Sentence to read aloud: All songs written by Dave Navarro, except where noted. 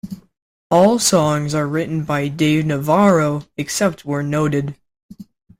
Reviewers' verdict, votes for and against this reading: rejected, 0, 2